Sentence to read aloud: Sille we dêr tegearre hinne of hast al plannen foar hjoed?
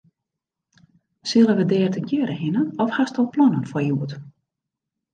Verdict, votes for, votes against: accepted, 2, 0